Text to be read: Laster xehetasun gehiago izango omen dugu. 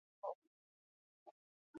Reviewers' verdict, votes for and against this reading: rejected, 0, 6